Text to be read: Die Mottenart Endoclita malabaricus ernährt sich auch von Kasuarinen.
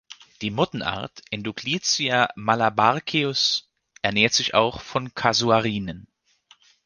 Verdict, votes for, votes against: accepted, 2, 0